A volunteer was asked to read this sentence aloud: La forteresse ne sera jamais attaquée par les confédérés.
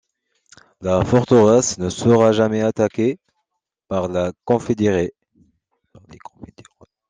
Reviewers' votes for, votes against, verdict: 0, 2, rejected